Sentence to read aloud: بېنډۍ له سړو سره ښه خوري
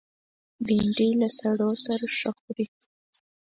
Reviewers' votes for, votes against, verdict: 4, 0, accepted